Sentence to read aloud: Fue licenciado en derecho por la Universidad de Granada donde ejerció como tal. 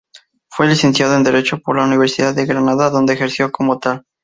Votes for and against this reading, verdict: 2, 2, rejected